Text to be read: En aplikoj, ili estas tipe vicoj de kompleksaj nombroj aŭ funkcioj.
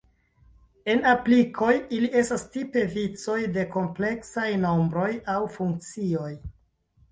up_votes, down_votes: 1, 2